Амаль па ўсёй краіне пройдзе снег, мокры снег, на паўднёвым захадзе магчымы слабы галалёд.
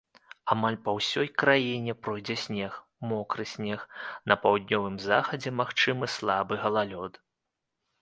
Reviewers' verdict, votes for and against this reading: accepted, 2, 0